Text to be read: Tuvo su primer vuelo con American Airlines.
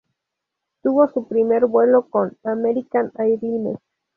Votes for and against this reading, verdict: 2, 2, rejected